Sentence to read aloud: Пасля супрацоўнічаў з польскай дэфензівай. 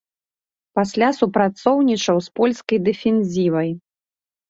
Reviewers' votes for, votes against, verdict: 2, 0, accepted